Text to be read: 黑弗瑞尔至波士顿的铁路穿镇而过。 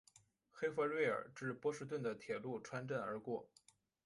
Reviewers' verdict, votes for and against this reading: rejected, 0, 2